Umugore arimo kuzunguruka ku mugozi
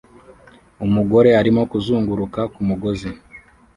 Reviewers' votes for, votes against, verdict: 2, 0, accepted